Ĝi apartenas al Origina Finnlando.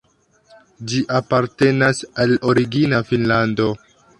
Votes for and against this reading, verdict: 2, 1, accepted